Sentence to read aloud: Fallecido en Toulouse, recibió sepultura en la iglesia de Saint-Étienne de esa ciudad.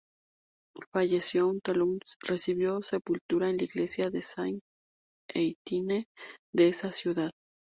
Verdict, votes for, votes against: rejected, 0, 2